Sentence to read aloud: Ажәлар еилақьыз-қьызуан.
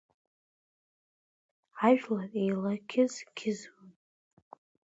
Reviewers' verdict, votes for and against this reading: rejected, 0, 2